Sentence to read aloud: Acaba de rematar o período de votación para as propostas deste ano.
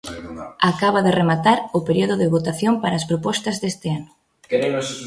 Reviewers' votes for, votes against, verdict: 1, 2, rejected